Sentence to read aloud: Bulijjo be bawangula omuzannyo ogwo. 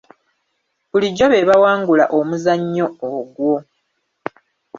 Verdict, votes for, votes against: accepted, 3, 0